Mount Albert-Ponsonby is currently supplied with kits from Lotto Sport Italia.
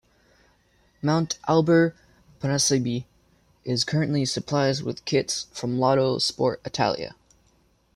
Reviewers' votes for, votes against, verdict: 1, 2, rejected